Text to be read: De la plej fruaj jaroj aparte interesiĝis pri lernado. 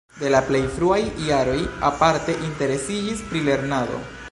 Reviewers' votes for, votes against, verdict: 2, 0, accepted